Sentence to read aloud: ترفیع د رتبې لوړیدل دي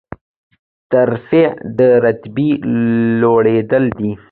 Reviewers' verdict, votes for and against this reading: accepted, 2, 0